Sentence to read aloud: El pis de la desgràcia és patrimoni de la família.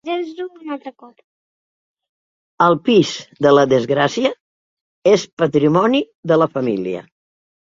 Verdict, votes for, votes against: rejected, 1, 3